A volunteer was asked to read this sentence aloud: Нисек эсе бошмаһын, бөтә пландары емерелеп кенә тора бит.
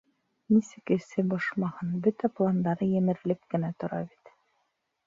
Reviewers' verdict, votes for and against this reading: accepted, 2, 0